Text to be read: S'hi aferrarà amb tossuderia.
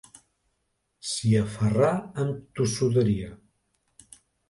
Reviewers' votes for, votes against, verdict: 0, 2, rejected